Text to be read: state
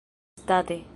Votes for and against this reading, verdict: 0, 2, rejected